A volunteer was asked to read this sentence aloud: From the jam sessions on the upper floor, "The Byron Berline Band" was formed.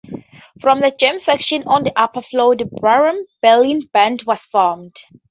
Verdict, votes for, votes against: accepted, 4, 0